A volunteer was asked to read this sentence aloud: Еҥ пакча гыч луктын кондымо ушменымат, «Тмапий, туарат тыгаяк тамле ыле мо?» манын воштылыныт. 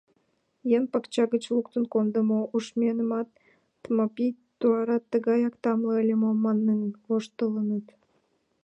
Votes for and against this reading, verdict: 3, 2, accepted